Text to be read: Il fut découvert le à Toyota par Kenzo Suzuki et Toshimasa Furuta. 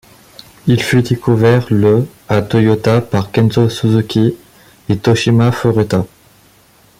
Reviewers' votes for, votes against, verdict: 1, 2, rejected